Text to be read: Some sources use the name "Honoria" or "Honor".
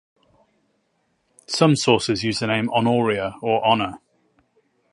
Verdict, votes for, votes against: accepted, 4, 0